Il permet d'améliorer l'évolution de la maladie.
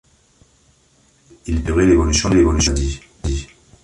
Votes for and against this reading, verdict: 0, 3, rejected